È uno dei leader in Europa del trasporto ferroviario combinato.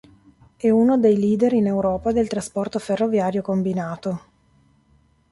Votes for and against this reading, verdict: 2, 0, accepted